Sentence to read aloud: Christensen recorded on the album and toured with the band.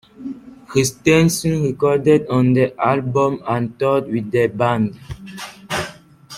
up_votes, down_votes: 2, 1